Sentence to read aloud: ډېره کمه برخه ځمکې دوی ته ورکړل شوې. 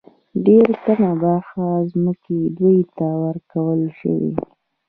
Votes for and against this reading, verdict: 2, 0, accepted